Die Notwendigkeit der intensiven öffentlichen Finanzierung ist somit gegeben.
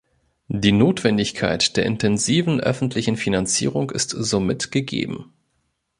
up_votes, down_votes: 2, 0